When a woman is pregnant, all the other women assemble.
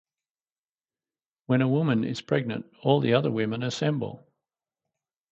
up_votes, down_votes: 4, 0